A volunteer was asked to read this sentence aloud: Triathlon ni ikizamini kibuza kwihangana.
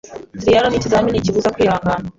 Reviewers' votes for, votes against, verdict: 2, 0, accepted